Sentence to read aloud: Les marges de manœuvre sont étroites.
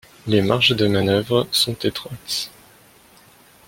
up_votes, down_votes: 2, 0